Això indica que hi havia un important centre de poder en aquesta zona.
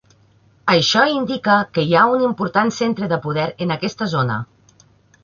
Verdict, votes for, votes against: rejected, 0, 2